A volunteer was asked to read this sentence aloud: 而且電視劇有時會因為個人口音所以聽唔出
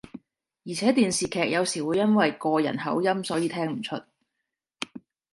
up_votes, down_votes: 2, 0